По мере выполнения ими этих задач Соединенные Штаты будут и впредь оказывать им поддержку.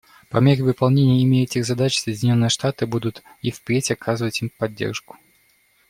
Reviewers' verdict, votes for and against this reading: accepted, 2, 0